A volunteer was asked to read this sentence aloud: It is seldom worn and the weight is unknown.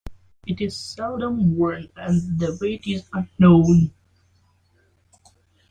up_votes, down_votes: 2, 1